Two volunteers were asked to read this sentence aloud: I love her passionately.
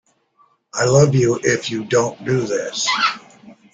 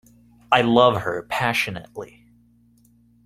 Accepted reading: second